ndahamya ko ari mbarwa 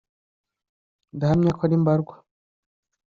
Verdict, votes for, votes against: accepted, 2, 0